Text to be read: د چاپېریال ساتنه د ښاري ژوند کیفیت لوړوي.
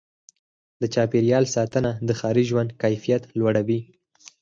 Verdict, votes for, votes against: accepted, 4, 2